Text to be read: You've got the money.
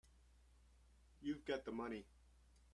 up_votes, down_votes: 0, 2